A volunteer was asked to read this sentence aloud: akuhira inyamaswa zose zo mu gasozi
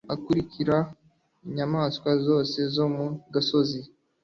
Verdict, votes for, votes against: accepted, 2, 0